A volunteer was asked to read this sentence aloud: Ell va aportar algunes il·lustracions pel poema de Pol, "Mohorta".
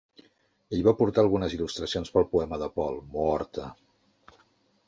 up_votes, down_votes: 2, 0